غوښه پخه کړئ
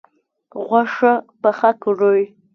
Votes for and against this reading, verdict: 3, 0, accepted